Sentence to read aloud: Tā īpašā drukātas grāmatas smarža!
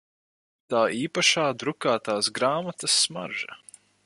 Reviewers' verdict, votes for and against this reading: rejected, 0, 4